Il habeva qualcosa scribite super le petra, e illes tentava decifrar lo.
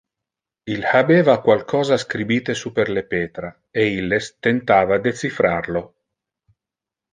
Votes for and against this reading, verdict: 2, 0, accepted